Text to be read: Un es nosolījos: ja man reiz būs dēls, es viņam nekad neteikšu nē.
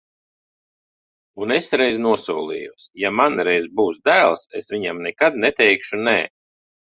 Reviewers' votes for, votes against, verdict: 0, 2, rejected